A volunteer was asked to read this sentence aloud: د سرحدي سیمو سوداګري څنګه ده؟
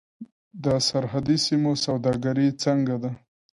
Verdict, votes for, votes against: accepted, 2, 0